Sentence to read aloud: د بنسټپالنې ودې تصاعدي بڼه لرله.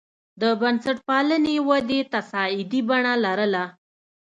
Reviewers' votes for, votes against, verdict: 2, 0, accepted